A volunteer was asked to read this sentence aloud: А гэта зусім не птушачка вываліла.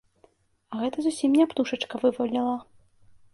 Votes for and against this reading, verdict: 2, 0, accepted